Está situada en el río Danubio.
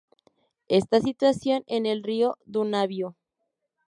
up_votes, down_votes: 0, 2